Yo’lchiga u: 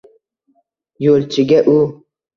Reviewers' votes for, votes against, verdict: 2, 0, accepted